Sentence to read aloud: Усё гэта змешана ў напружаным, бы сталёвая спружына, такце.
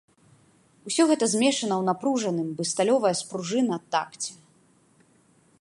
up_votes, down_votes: 2, 0